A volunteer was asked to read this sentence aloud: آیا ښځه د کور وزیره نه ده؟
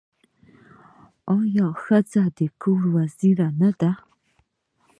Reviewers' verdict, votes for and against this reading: accepted, 2, 0